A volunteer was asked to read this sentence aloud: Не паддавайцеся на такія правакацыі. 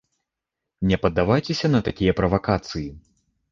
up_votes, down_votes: 2, 0